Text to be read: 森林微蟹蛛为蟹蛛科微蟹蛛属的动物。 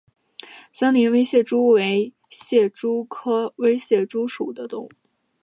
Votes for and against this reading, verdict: 2, 0, accepted